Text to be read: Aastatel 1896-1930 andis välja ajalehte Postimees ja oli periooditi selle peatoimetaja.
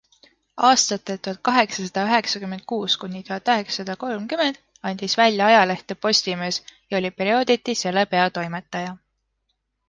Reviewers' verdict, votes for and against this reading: rejected, 0, 2